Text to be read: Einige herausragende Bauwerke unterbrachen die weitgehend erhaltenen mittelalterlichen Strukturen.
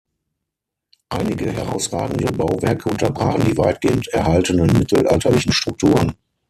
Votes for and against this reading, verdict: 3, 6, rejected